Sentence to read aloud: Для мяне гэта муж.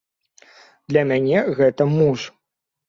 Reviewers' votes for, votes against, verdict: 2, 0, accepted